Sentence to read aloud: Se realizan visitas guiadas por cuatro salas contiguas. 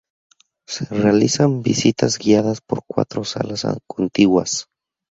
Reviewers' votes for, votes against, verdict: 0, 2, rejected